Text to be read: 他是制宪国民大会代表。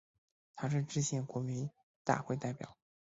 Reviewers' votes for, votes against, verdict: 4, 2, accepted